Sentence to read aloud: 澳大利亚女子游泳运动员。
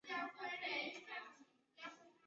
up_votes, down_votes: 0, 2